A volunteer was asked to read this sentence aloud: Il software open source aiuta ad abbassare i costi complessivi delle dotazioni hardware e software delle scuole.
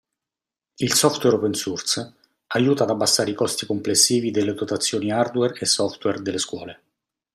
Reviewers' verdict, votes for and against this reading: accepted, 2, 0